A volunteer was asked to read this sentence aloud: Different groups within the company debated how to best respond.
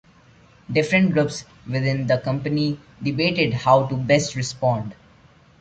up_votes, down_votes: 2, 1